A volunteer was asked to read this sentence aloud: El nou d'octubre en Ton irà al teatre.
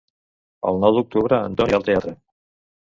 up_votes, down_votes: 0, 2